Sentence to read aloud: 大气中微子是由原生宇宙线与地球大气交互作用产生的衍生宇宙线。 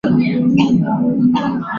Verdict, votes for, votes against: rejected, 0, 2